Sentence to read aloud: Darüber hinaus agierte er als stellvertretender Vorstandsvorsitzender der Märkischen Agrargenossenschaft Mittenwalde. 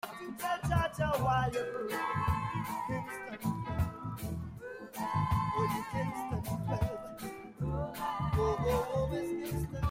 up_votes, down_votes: 0, 2